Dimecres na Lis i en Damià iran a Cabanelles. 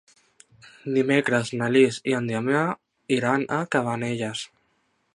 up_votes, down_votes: 0, 2